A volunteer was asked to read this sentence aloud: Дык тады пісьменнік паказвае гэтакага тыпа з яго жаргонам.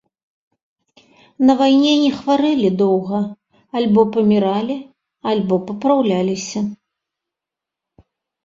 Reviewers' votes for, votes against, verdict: 0, 2, rejected